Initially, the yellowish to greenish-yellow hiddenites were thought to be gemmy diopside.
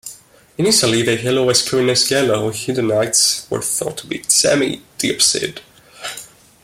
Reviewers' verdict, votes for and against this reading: rejected, 1, 2